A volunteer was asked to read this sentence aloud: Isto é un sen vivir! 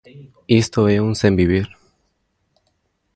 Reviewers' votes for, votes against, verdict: 2, 0, accepted